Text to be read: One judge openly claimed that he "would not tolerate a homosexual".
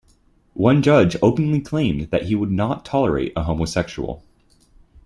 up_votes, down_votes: 2, 0